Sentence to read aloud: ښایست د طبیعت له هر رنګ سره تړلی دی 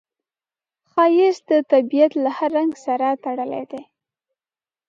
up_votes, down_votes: 2, 0